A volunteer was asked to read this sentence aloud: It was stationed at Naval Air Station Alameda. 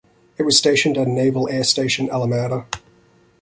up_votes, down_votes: 2, 1